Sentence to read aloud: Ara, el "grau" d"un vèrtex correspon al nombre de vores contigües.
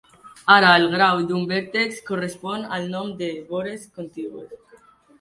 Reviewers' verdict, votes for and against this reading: rejected, 1, 2